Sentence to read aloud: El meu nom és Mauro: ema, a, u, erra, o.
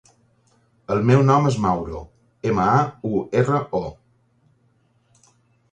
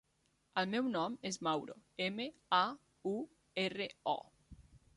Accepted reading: first